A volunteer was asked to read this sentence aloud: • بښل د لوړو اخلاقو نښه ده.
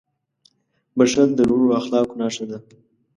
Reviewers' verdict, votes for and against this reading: accepted, 2, 0